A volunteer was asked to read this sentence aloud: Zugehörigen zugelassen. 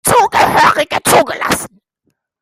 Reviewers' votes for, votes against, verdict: 0, 2, rejected